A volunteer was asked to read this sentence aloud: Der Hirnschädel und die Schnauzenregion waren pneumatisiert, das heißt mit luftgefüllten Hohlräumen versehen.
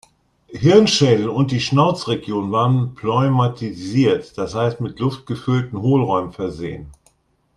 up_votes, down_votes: 0, 2